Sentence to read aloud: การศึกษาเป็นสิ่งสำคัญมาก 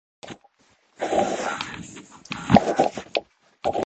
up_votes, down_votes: 0, 2